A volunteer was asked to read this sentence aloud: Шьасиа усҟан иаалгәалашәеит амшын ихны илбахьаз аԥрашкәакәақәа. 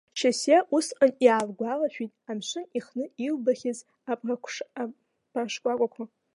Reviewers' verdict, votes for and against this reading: rejected, 1, 2